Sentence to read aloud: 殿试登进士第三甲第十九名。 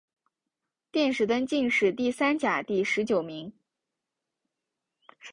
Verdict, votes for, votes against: accepted, 2, 0